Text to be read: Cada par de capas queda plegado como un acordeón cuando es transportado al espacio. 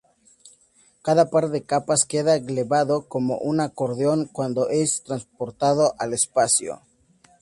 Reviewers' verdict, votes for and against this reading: accepted, 2, 0